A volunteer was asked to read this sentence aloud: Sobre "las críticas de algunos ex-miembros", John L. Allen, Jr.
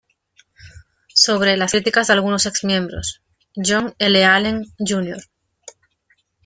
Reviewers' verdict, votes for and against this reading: rejected, 0, 2